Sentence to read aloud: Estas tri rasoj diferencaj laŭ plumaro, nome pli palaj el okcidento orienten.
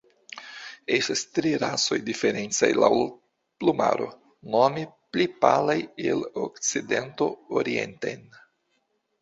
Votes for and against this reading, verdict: 2, 1, accepted